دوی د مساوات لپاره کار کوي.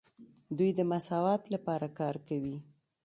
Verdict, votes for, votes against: rejected, 0, 2